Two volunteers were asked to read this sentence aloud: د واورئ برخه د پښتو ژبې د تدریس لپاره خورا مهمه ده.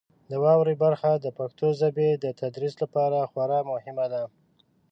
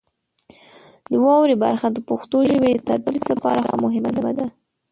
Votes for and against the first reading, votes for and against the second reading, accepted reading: 2, 1, 1, 2, first